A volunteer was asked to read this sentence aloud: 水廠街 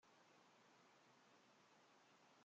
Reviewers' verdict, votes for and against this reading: rejected, 0, 2